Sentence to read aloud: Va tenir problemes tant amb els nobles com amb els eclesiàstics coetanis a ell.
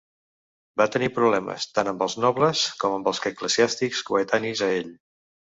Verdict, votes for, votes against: rejected, 1, 2